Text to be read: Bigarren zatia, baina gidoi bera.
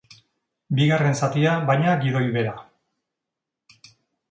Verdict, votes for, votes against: accepted, 2, 0